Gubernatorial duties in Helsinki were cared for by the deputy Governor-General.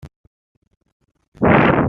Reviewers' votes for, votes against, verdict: 0, 2, rejected